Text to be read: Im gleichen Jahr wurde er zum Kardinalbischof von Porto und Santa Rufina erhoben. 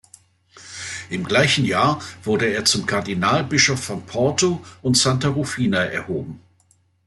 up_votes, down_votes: 2, 0